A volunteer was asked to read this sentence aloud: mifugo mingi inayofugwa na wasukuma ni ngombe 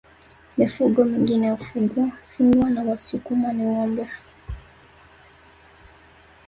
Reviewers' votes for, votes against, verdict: 1, 2, rejected